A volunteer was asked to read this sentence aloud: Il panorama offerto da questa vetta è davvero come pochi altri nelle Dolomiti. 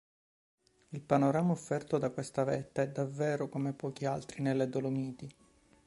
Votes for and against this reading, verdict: 1, 2, rejected